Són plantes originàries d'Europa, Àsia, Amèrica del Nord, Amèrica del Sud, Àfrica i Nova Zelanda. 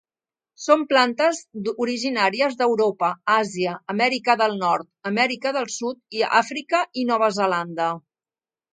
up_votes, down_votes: 1, 2